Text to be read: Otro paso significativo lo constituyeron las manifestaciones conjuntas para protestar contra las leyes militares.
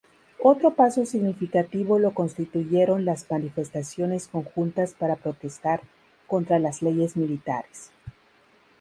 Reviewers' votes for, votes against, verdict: 0, 2, rejected